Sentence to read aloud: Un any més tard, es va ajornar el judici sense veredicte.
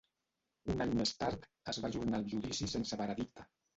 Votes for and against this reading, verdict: 0, 2, rejected